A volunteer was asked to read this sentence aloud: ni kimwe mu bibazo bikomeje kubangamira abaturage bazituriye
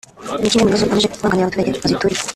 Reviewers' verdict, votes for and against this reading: rejected, 1, 2